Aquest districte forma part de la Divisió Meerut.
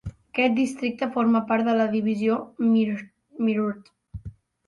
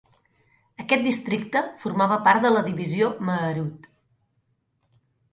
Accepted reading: second